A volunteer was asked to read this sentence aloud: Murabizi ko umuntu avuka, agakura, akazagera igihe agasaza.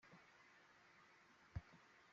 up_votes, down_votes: 0, 2